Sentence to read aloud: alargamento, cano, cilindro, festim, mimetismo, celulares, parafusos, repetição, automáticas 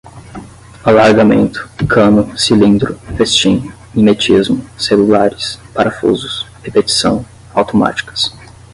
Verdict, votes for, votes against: accepted, 10, 0